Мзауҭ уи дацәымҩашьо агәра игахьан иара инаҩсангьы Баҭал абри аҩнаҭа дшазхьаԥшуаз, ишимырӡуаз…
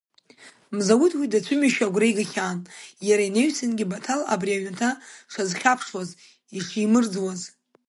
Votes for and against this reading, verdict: 1, 2, rejected